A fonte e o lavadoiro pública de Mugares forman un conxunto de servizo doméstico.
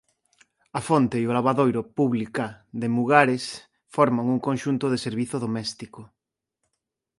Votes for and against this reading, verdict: 2, 0, accepted